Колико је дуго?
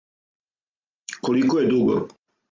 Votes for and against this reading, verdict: 4, 0, accepted